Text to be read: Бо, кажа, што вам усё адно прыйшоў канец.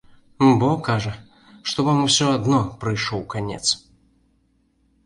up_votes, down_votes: 2, 0